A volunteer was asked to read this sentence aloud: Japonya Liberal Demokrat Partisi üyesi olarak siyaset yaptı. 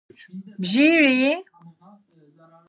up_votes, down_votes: 0, 2